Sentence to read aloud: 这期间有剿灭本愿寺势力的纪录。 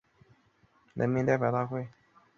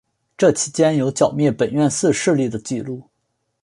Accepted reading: second